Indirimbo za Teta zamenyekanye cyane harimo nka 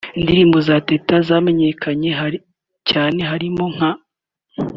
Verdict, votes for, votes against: accepted, 3, 2